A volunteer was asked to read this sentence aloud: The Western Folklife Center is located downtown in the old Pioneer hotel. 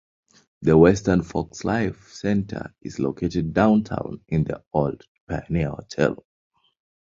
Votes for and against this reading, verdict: 0, 2, rejected